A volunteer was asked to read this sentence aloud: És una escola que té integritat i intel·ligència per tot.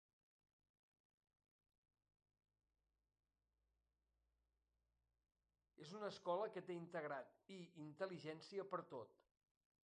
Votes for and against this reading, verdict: 0, 2, rejected